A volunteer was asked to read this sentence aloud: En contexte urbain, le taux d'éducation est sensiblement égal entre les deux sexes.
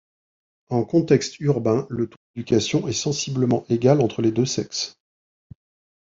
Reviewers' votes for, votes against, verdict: 1, 2, rejected